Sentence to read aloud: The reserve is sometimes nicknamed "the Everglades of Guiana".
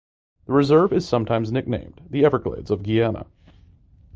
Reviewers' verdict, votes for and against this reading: rejected, 1, 2